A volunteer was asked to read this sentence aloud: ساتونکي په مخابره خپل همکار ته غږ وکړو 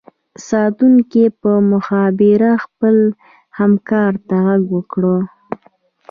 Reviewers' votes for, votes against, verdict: 2, 0, accepted